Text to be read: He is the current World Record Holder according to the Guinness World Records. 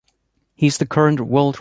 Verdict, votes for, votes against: rejected, 0, 2